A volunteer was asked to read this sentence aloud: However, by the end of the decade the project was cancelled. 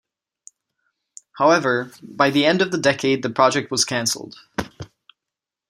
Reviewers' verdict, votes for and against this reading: accepted, 2, 0